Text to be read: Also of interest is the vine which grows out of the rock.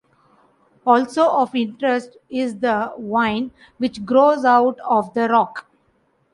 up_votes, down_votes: 2, 0